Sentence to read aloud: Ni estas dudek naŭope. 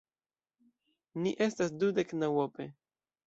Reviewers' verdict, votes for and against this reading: accepted, 2, 0